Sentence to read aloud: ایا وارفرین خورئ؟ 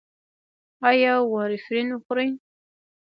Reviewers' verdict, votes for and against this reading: rejected, 0, 2